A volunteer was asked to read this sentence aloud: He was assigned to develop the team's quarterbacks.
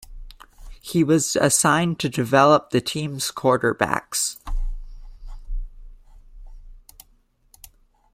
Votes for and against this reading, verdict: 2, 0, accepted